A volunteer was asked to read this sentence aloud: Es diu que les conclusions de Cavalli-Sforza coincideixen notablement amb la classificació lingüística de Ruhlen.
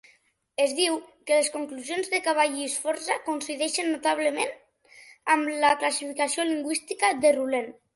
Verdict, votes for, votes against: accepted, 2, 0